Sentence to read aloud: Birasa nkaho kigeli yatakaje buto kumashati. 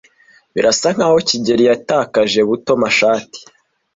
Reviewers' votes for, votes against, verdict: 1, 2, rejected